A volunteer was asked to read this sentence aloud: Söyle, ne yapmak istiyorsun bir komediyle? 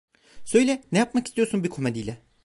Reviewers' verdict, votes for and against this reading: accepted, 2, 0